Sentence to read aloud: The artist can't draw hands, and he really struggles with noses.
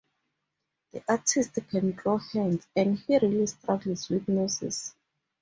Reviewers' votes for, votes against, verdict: 2, 0, accepted